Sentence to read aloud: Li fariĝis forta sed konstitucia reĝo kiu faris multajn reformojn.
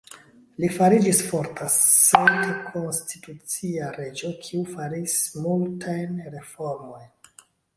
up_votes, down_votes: 1, 2